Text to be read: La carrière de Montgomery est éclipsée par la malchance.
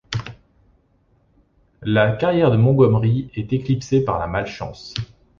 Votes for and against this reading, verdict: 2, 0, accepted